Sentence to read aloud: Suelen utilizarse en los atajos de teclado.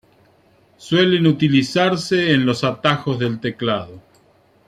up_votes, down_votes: 1, 2